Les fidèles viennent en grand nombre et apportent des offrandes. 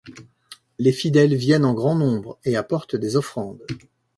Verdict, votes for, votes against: accepted, 2, 0